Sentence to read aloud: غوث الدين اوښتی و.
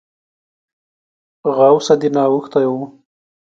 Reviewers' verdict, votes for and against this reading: rejected, 1, 2